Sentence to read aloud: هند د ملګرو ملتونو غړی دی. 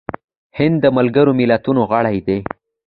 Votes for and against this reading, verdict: 2, 0, accepted